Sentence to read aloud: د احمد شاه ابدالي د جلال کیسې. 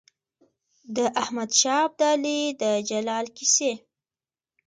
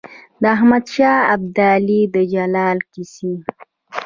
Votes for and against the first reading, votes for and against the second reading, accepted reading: 1, 2, 2, 1, second